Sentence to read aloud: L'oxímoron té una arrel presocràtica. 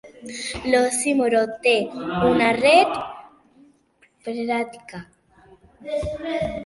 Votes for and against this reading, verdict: 0, 2, rejected